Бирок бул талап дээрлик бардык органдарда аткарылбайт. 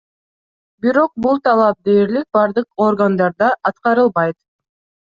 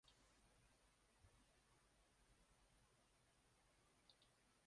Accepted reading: first